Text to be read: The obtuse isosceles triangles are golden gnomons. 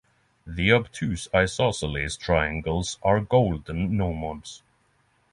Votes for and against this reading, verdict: 6, 0, accepted